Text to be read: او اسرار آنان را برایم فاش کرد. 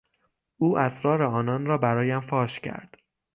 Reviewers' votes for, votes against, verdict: 6, 0, accepted